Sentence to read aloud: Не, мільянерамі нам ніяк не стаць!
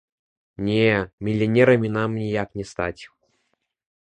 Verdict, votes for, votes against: rejected, 1, 2